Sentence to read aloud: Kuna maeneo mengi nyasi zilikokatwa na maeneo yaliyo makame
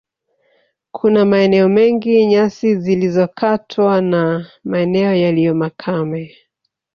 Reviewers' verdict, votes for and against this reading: rejected, 1, 2